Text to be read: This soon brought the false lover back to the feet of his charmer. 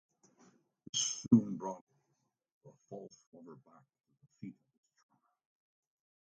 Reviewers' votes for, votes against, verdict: 0, 2, rejected